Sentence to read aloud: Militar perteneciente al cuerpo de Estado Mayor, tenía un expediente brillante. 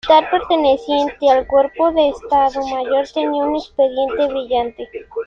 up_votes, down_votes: 0, 3